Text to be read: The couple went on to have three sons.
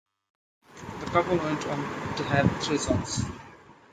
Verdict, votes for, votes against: accepted, 2, 1